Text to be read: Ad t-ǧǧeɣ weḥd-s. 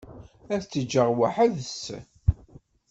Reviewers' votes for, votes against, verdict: 1, 2, rejected